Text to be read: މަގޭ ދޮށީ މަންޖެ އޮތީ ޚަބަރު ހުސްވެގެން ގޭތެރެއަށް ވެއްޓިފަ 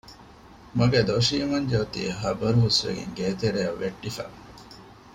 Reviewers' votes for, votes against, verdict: 2, 0, accepted